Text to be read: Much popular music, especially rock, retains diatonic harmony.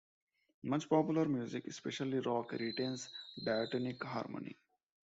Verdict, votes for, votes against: accepted, 2, 0